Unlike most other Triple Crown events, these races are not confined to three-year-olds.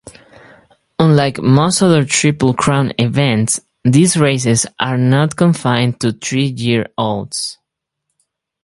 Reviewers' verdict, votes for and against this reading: rejected, 0, 4